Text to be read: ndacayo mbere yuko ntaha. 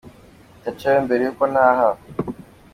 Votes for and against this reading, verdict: 2, 0, accepted